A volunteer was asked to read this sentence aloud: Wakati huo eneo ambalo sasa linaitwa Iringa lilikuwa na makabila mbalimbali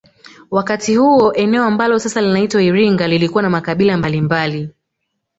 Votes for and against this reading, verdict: 2, 1, accepted